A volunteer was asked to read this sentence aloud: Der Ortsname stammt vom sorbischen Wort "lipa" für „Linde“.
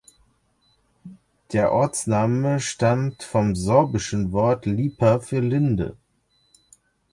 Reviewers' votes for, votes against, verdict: 2, 0, accepted